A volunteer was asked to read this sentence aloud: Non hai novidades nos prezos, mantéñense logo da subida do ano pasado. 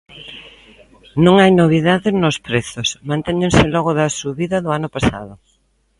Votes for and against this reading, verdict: 2, 1, accepted